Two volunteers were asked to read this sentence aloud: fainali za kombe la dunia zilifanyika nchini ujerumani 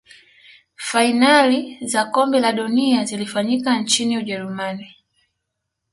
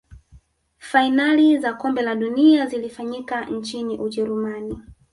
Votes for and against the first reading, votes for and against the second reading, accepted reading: 2, 0, 1, 2, first